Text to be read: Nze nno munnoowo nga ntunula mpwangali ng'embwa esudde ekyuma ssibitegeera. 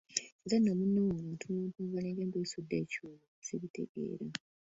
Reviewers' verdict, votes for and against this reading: rejected, 1, 2